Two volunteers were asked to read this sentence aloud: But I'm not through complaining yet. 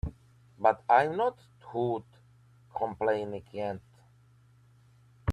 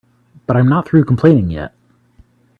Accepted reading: second